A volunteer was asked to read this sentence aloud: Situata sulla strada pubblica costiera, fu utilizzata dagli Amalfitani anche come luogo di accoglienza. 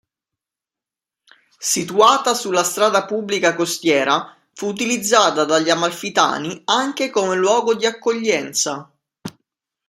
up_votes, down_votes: 2, 0